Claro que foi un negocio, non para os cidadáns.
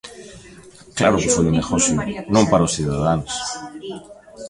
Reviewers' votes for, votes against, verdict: 0, 2, rejected